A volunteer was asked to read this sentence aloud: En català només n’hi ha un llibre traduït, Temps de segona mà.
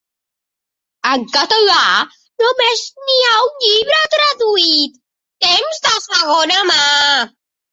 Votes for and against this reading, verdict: 3, 0, accepted